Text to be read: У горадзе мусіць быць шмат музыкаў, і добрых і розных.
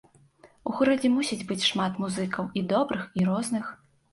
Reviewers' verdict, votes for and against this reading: accepted, 2, 0